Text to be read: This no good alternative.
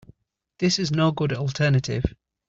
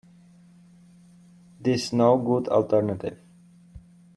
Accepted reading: second